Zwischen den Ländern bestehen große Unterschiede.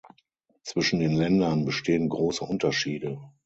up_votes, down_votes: 6, 0